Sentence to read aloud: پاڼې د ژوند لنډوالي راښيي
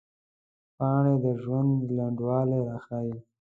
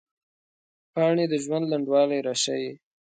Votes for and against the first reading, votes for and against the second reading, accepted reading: 1, 2, 2, 0, second